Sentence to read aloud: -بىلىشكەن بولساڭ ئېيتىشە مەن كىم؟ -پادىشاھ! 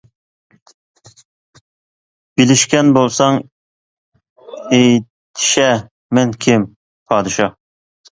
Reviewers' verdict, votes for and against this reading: accepted, 2, 0